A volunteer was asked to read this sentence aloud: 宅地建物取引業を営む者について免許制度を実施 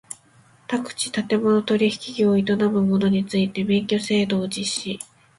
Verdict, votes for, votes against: accepted, 2, 1